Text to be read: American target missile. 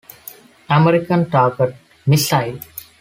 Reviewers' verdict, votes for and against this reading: accepted, 2, 0